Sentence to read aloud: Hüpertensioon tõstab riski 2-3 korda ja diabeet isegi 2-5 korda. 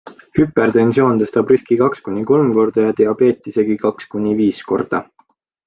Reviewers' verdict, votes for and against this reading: rejected, 0, 2